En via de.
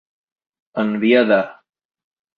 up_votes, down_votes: 2, 0